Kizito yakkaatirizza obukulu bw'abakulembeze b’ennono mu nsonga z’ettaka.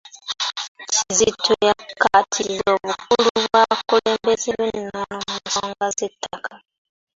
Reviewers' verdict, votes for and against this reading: rejected, 0, 2